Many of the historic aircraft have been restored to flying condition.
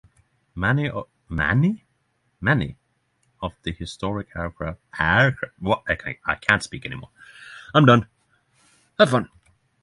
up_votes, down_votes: 0, 9